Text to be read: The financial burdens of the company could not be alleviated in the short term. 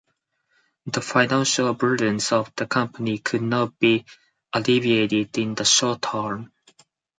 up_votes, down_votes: 4, 2